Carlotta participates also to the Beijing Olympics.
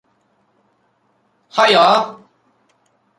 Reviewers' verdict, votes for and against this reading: rejected, 0, 2